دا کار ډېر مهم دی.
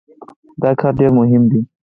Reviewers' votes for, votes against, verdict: 4, 2, accepted